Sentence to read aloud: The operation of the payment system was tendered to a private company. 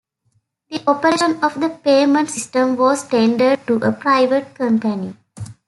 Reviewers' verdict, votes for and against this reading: accepted, 2, 1